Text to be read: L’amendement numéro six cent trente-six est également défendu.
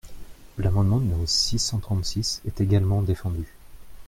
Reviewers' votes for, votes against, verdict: 2, 0, accepted